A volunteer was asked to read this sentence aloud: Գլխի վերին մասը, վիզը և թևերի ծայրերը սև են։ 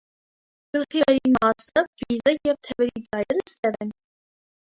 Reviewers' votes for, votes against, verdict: 0, 2, rejected